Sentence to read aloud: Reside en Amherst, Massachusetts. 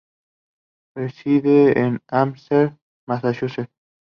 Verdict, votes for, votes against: accepted, 2, 0